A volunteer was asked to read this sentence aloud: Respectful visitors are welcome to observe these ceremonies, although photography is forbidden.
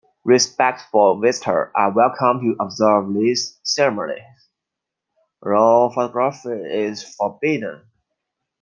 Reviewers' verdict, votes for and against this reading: rejected, 1, 2